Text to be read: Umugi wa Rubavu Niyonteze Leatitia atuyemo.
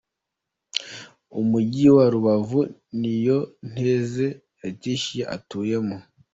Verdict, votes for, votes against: accepted, 2, 0